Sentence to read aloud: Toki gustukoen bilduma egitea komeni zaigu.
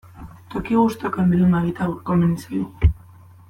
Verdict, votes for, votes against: rejected, 1, 2